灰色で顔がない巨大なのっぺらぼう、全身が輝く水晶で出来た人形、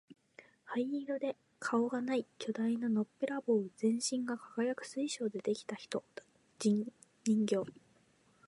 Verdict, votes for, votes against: rejected, 1, 2